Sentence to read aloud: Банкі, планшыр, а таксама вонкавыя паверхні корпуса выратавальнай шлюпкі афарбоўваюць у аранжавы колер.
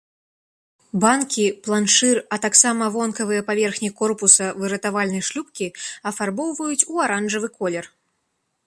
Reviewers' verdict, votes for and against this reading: accepted, 2, 0